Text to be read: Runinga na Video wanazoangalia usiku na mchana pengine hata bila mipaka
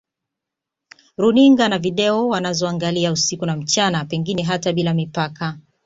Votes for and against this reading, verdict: 0, 2, rejected